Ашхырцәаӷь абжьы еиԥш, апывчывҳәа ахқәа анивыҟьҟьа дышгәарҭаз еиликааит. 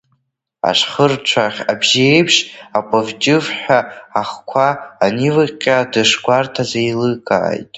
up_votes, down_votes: 0, 2